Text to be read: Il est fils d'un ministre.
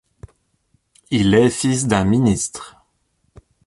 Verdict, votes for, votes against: accepted, 3, 0